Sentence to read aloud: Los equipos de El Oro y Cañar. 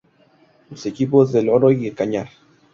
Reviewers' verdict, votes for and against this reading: rejected, 0, 2